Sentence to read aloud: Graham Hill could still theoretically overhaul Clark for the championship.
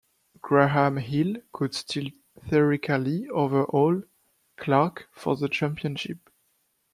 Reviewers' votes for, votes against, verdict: 0, 2, rejected